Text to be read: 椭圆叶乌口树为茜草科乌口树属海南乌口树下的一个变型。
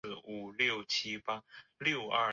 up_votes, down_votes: 0, 2